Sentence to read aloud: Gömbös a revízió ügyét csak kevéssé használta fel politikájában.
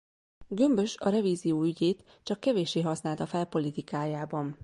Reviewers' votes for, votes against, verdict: 2, 0, accepted